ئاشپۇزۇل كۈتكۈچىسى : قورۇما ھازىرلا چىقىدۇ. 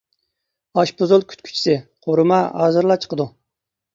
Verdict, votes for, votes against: accepted, 2, 0